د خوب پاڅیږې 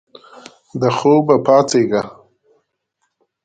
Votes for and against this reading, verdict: 2, 0, accepted